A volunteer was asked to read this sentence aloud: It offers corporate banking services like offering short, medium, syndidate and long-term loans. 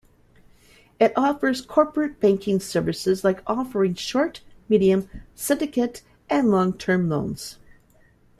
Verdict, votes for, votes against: accepted, 3, 1